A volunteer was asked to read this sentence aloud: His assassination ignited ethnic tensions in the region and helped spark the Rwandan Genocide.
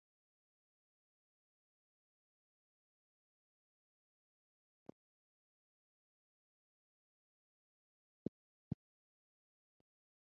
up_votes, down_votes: 0, 4